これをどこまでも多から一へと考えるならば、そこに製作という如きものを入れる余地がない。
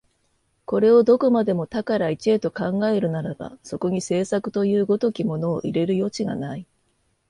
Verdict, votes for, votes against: accepted, 2, 0